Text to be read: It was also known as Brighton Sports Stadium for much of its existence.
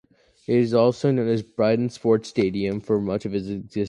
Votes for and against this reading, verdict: 0, 2, rejected